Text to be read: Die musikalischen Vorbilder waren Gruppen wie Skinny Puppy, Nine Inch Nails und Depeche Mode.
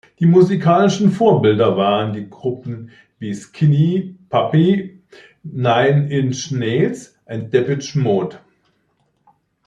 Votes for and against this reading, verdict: 1, 2, rejected